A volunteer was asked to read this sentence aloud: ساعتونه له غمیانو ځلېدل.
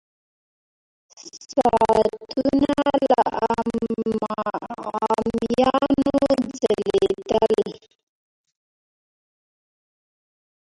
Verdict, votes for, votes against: rejected, 0, 2